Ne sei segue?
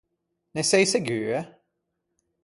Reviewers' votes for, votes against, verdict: 4, 0, accepted